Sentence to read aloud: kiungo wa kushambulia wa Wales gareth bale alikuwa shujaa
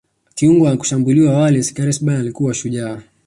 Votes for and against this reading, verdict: 1, 2, rejected